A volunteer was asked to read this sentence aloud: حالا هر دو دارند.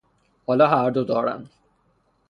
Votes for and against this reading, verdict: 3, 3, rejected